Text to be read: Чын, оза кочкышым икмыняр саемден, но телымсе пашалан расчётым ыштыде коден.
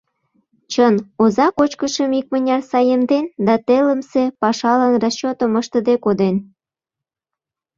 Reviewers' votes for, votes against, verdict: 1, 2, rejected